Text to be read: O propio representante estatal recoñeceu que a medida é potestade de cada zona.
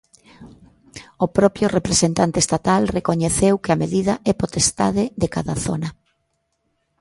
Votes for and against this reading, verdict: 2, 0, accepted